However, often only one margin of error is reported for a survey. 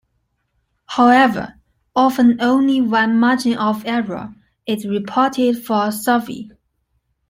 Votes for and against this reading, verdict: 2, 0, accepted